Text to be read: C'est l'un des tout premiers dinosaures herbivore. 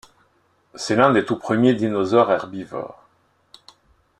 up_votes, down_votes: 2, 0